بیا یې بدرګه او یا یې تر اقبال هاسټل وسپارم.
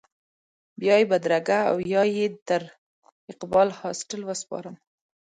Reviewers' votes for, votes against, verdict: 2, 0, accepted